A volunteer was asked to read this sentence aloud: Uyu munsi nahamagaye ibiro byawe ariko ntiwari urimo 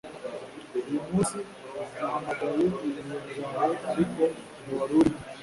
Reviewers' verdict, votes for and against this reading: rejected, 1, 2